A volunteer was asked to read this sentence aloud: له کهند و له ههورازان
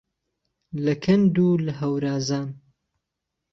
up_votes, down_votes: 1, 2